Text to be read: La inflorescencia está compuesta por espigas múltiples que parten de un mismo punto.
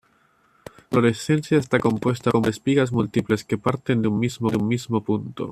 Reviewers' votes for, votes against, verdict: 1, 2, rejected